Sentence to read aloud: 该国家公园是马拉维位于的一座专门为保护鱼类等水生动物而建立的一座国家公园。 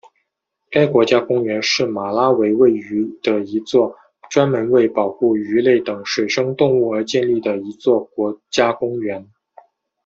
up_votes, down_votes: 2, 0